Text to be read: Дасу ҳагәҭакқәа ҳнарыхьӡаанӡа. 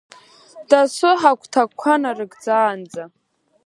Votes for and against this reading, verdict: 0, 2, rejected